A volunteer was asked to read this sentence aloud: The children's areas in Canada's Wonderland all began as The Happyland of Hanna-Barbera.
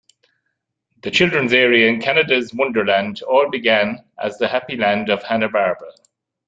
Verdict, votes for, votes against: rejected, 1, 2